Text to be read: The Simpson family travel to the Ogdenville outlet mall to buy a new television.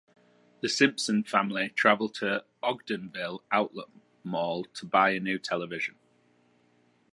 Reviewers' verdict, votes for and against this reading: rejected, 0, 2